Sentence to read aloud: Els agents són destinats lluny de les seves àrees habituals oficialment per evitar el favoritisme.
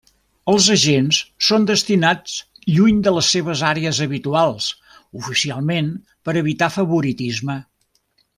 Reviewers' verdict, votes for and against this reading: rejected, 0, 2